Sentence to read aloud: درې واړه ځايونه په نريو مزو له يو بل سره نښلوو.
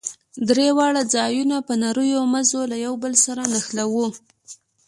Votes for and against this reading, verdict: 2, 0, accepted